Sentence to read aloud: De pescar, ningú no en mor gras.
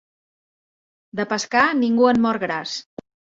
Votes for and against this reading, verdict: 2, 1, accepted